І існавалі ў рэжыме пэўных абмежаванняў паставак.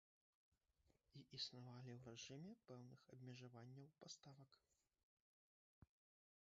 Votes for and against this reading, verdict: 1, 2, rejected